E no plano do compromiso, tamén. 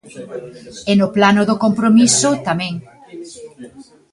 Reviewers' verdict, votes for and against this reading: accepted, 2, 0